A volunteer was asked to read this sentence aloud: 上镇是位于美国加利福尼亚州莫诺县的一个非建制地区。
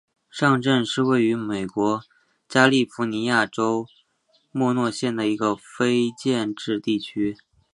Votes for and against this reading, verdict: 2, 1, accepted